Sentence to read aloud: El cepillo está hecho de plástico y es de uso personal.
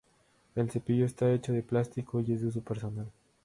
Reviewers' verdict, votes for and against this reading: accepted, 2, 0